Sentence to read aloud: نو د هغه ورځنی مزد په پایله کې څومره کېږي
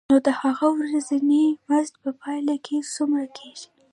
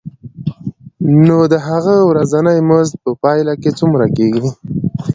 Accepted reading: second